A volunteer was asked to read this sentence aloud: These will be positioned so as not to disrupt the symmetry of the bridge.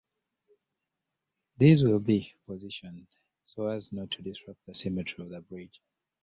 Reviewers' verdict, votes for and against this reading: accepted, 2, 0